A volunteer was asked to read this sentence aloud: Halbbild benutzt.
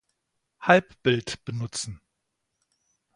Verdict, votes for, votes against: rejected, 1, 2